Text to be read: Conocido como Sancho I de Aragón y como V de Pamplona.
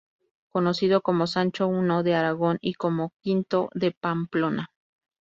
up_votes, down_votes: 2, 2